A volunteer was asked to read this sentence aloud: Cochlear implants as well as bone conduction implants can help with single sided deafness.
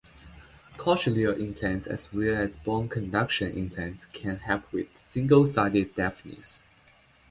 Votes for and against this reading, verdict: 0, 2, rejected